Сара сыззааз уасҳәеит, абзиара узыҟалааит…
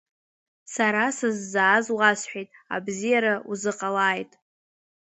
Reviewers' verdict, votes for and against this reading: accepted, 2, 0